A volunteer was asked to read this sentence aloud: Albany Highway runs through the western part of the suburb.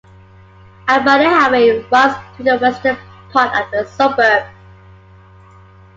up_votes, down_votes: 2, 1